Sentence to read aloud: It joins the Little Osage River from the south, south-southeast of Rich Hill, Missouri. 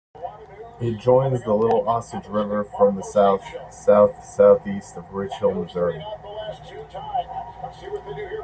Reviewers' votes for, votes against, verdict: 2, 0, accepted